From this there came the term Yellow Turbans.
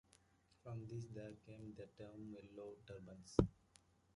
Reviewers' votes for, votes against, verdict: 2, 1, accepted